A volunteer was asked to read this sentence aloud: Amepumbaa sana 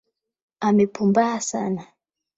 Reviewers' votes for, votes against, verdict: 8, 0, accepted